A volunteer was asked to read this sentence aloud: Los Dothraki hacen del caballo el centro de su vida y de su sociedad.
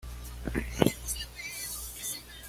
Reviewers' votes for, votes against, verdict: 1, 2, rejected